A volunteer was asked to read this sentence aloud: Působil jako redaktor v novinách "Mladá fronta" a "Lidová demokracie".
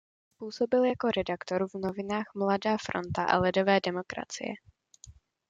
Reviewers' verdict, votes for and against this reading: rejected, 1, 2